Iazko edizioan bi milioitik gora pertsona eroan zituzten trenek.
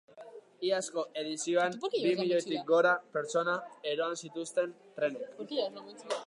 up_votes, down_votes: 0, 2